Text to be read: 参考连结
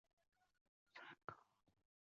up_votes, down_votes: 1, 2